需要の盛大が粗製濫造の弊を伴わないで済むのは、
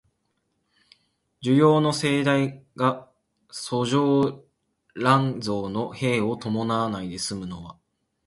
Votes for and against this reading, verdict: 0, 2, rejected